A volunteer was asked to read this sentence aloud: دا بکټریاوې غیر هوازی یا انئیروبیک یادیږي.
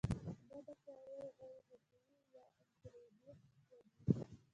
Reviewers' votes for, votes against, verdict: 2, 1, accepted